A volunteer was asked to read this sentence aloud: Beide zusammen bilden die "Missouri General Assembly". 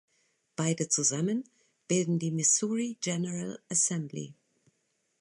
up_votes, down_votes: 2, 0